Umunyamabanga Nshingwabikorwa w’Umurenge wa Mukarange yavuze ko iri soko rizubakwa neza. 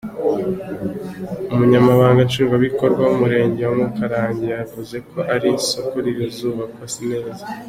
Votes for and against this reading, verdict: 3, 1, accepted